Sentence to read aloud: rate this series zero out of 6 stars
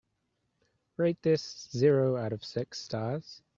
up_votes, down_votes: 0, 2